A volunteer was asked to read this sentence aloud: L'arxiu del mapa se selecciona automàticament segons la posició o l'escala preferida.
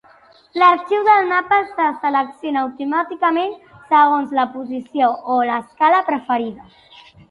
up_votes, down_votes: 3, 2